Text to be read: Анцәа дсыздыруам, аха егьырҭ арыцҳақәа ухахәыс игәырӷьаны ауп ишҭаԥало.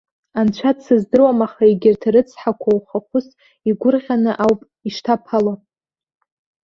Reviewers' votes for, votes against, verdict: 0, 2, rejected